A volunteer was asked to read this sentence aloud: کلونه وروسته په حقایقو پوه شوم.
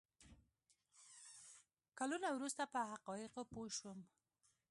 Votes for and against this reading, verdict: 1, 2, rejected